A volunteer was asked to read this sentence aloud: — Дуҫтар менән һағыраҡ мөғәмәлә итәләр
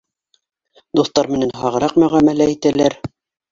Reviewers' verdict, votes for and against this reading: accepted, 2, 1